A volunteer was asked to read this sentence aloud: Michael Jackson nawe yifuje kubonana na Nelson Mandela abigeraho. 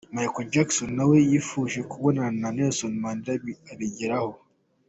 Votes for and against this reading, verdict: 2, 0, accepted